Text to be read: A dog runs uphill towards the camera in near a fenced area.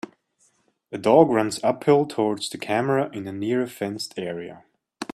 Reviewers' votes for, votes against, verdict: 0, 2, rejected